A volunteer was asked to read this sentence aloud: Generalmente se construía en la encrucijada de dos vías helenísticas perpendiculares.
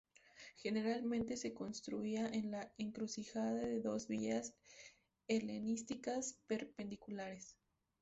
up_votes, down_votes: 2, 0